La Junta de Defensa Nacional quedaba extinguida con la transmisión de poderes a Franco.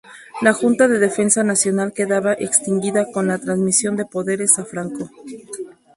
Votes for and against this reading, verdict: 2, 0, accepted